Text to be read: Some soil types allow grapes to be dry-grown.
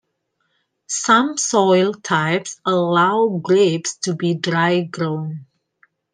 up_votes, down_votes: 2, 0